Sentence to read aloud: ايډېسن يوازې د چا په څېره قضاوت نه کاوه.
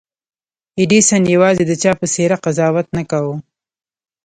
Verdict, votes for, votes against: rejected, 1, 2